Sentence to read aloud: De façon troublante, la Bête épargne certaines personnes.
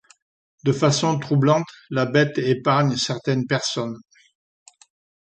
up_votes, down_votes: 2, 0